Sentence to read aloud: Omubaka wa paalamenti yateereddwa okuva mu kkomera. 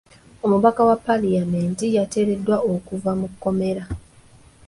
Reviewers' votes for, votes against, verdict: 1, 2, rejected